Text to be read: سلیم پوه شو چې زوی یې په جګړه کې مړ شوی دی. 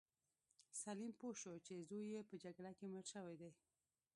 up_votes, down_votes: 0, 2